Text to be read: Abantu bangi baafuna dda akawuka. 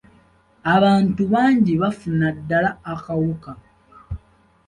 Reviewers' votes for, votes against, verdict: 1, 2, rejected